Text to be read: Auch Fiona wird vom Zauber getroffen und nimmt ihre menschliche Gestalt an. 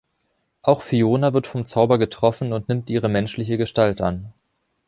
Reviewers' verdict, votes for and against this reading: accepted, 2, 0